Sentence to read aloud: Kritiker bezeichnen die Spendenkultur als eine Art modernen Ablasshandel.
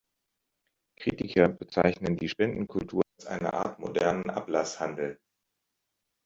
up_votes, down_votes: 1, 2